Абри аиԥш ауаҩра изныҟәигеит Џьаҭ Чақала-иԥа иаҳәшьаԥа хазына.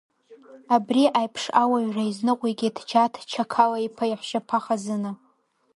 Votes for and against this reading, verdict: 0, 2, rejected